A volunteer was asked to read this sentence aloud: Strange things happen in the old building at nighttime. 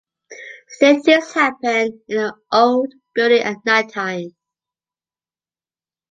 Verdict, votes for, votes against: rejected, 1, 2